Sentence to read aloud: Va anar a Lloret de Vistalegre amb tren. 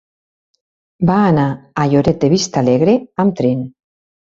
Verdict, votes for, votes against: rejected, 1, 2